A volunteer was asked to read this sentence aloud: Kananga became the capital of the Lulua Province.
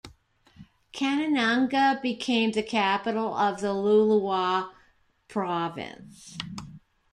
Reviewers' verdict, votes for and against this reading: rejected, 1, 3